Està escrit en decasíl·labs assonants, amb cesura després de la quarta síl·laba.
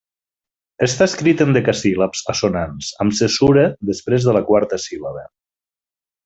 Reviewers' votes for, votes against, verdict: 2, 0, accepted